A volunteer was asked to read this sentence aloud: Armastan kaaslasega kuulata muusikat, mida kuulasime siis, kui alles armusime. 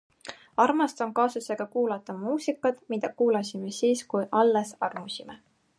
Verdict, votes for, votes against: accepted, 4, 0